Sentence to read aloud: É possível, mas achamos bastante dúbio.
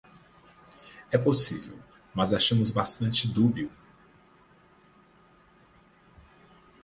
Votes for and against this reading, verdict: 6, 0, accepted